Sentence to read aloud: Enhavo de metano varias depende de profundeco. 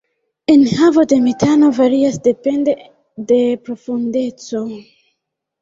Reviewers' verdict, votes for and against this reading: accepted, 2, 0